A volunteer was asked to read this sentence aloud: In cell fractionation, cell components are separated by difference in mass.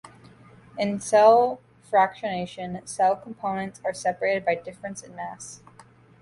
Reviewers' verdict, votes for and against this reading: accepted, 2, 0